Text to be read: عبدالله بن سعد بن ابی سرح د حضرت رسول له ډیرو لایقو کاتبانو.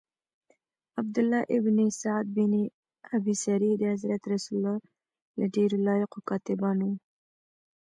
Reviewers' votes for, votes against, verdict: 0, 2, rejected